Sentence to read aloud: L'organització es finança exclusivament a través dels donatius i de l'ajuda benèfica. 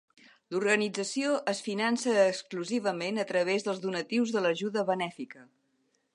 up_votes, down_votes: 1, 2